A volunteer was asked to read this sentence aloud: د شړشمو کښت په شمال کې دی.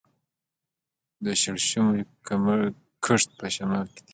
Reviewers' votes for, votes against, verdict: 2, 0, accepted